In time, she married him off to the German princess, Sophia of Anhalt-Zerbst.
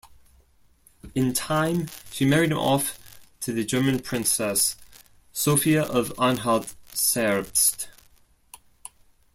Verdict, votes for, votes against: accepted, 2, 0